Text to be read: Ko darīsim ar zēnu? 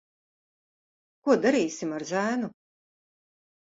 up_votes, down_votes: 2, 0